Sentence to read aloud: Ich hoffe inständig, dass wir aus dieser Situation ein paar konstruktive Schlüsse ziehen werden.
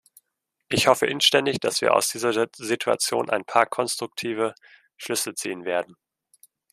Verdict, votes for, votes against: rejected, 1, 2